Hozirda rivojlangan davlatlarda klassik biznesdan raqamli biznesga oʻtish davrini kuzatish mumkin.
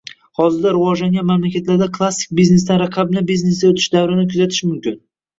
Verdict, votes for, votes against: rejected, 1, 2